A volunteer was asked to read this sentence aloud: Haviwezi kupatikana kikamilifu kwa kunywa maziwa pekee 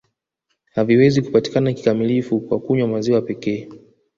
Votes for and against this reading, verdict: 2, 1, accepted